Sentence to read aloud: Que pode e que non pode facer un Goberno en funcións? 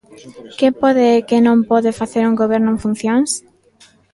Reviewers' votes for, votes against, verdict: 2, 0, accepted